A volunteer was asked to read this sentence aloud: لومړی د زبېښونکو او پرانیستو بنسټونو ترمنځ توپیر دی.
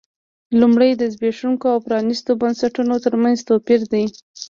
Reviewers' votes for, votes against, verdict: 2, 0, accepted